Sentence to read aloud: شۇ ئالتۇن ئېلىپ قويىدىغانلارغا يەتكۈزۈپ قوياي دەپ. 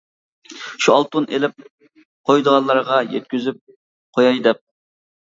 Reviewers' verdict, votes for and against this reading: accepted, 2, 0